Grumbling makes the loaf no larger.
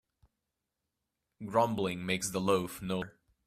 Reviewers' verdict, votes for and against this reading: rejected, 0, 2